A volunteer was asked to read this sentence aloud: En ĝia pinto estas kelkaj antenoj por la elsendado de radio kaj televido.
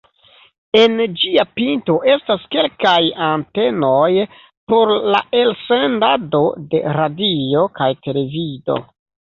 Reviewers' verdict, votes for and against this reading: accepted, 2, 1